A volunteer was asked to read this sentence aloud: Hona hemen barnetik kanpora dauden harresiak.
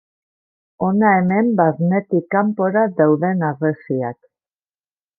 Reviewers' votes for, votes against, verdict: 2, 0, accepted